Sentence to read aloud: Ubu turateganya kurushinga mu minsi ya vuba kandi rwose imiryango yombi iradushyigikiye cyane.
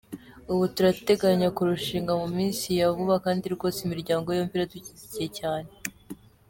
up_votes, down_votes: 2, 0